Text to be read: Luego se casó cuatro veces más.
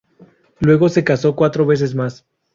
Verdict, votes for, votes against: accepted, 4, 0